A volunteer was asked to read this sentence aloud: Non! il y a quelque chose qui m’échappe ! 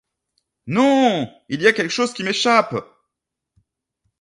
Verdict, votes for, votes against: accepted, 2, 0